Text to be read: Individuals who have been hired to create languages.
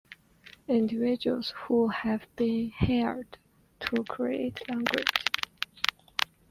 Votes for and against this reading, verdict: 0, 2, rejected